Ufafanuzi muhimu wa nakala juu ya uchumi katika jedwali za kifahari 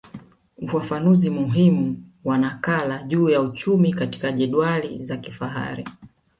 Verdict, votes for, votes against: accepted, 2, 0